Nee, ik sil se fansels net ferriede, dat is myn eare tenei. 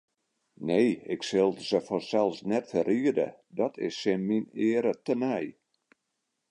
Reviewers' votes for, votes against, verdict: 1, 2, rejected